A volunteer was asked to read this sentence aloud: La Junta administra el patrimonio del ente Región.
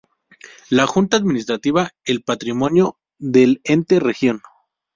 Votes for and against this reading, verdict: 0, 2, rejected